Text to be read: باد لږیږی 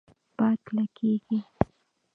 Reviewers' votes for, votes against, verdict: 1, 2, rejected